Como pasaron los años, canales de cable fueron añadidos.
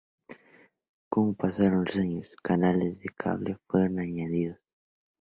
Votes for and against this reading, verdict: 4, 0, accepted